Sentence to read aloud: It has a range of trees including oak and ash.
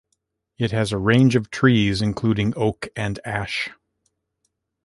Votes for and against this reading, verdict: 2, 0, accepted